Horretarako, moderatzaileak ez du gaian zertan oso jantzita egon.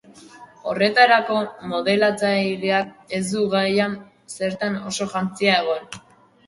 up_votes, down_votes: 0, 2